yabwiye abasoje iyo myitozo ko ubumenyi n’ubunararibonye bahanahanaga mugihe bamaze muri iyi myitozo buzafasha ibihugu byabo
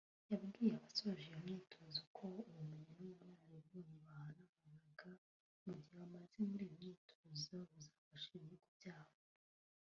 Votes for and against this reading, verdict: 0, 2, rejected